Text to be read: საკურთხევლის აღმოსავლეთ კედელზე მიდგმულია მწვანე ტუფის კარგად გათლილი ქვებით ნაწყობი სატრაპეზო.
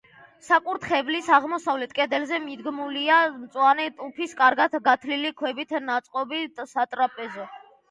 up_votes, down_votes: 2, 0